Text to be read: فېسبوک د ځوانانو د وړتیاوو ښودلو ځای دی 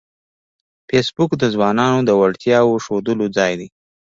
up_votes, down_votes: 2, 1